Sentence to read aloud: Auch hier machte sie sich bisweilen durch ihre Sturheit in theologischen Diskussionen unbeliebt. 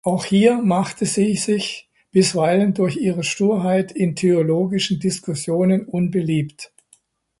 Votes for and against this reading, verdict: 2, 0, accepted